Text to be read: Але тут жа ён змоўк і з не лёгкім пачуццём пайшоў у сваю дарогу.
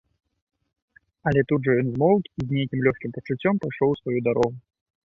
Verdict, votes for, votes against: rejected, 1, 2